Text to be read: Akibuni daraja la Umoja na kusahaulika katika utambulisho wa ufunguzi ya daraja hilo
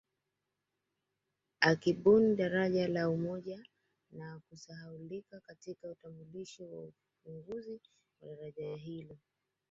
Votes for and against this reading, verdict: 0, 2, rejected